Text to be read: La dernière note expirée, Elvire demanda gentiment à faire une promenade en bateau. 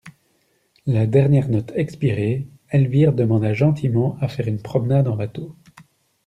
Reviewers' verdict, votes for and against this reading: accepted, 2, 0